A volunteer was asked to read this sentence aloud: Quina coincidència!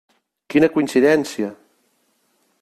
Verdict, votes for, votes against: accepted, 3, 0